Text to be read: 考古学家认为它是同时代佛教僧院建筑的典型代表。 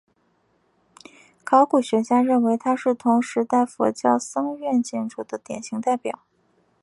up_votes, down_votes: 4, 0